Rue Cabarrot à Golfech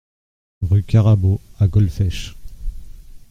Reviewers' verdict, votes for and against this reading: rejected, 1, 2